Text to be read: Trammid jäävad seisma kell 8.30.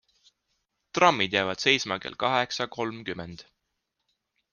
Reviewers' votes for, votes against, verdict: 0, 2, rejected